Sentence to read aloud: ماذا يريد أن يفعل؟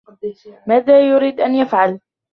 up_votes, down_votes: 1, 2